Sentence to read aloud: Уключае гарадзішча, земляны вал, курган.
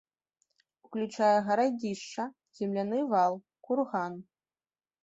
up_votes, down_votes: 0, 2